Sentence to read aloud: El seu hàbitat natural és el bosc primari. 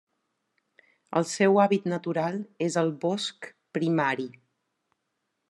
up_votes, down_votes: 0, 2